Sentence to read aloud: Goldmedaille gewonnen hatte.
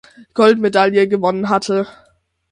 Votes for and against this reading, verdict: 6, 0, accepted